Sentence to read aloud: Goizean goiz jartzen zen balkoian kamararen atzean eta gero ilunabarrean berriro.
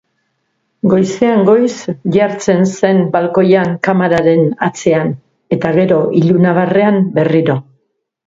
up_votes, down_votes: 2, 0